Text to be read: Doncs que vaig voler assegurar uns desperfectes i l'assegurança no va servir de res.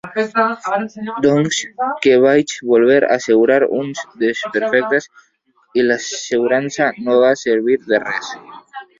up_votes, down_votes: 3, 1